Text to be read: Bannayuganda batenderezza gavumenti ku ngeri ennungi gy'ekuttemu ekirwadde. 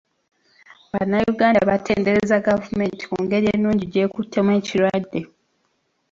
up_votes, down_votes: 0, 2